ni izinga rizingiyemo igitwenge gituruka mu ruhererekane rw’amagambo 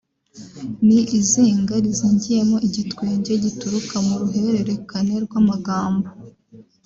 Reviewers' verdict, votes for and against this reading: rejected, 1, 2